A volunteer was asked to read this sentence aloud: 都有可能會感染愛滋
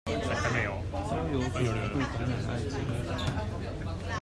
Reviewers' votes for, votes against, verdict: 1, 2, rejected